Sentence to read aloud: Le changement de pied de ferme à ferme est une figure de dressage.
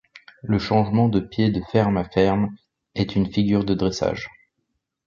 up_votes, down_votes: 3, 0